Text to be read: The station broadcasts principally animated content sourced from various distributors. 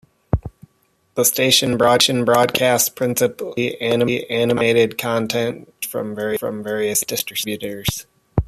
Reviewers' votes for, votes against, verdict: 0, 2, rejected